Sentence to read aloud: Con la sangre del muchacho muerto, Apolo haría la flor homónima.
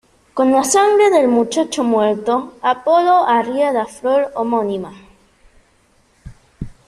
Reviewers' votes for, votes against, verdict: 2, 0, accepted